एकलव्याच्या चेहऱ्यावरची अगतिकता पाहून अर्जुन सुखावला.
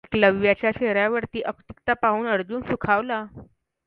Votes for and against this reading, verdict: 2, 0, accepted